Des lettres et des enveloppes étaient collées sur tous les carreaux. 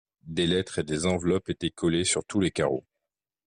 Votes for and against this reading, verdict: 2, 0, accepted